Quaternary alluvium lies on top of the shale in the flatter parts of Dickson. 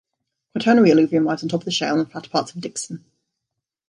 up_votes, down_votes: 0, 2